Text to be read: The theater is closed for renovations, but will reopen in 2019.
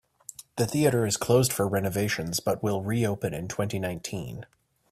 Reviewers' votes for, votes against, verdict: 0, 2, rejected